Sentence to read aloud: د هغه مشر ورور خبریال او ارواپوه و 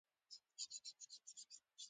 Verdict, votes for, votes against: rejected, 1, 2